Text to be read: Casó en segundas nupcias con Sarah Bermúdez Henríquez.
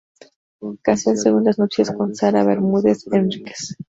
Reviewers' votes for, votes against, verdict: 0, 2, rejected